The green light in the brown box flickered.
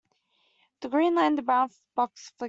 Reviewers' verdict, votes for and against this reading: rejected, 1, 2